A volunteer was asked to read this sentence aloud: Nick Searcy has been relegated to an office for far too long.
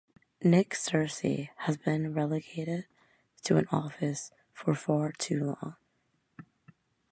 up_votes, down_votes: 2, 0